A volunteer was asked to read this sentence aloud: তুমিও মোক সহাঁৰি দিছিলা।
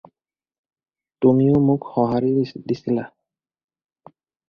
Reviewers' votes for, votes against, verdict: 2, 2, rejected